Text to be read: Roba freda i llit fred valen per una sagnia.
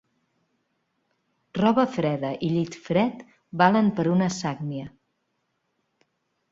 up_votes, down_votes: 1, 2